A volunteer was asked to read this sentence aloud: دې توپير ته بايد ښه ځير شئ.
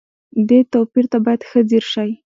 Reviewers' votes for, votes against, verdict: 2, 0, accepted